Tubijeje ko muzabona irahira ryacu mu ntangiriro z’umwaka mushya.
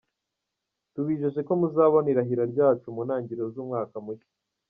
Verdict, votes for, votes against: accepted, 2, 0